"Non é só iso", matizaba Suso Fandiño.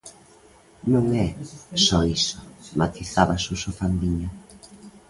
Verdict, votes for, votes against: accepted, 2, 0